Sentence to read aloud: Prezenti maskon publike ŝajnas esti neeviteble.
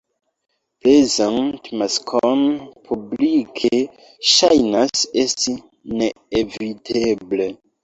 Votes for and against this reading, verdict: 0, 2, rejected